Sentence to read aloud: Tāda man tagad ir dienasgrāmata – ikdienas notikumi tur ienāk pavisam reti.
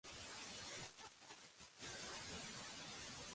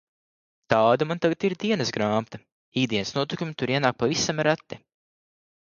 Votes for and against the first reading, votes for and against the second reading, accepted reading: 0, 2, 2, 0, second